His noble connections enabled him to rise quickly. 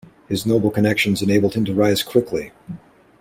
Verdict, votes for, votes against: accepted, 2, 0